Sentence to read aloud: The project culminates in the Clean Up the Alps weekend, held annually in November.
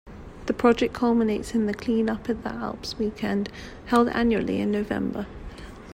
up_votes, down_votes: 1, 2